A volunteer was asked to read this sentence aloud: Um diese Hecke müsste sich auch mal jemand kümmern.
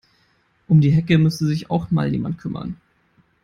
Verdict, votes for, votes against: rejected, 1, 2